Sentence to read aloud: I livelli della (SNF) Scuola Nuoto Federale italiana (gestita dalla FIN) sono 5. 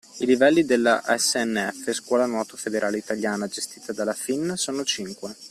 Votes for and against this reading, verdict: 0, 2, rejected